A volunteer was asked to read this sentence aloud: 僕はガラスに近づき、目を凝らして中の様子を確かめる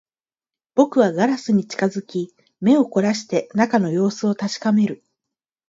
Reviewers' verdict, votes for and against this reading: accepted, 14, 0